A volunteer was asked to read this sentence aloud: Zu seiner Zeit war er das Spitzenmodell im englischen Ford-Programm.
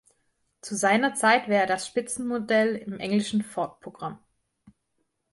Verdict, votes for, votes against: rejected, 1, 2